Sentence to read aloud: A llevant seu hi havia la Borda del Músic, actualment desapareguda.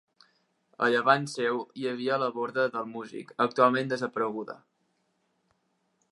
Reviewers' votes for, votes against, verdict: 3, 1, accepted